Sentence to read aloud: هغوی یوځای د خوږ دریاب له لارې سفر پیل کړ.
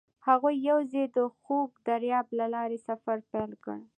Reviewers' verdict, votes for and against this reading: accepted, 2, 0